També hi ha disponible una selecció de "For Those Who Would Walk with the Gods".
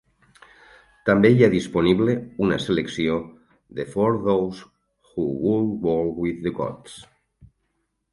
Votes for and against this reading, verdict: 2, 4, rejected